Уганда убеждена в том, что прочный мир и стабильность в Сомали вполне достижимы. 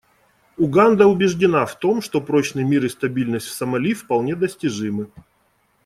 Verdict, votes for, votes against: accepted, 2, 0